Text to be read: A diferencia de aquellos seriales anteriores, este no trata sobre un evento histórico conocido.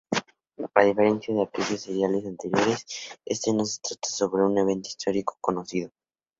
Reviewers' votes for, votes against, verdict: 0, 2, rejected